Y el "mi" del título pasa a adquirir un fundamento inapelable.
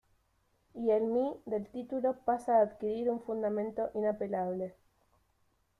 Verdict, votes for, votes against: accepted, 2, 1